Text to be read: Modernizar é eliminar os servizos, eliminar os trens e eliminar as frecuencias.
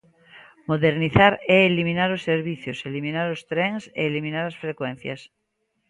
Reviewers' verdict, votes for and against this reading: rejected, 1, 2